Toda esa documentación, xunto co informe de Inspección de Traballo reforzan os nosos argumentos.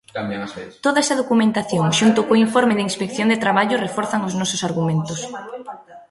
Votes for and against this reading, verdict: 0, 2, rejected